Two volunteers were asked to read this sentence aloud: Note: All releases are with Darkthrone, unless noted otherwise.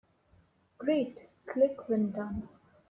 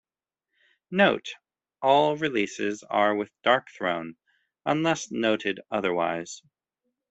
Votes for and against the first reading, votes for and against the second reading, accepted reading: 0, 2, 3, 0, second